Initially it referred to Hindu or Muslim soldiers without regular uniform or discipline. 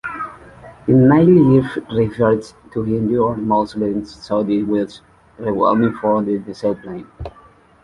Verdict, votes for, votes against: rejected, 0, 2